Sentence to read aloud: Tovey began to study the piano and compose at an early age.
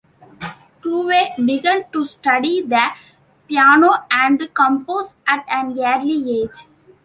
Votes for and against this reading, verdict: 2, 1, accepted